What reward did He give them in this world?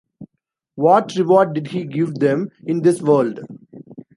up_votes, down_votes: 2, 0